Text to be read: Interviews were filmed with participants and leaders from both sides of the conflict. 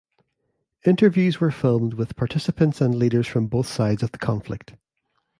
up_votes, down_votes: 2, 0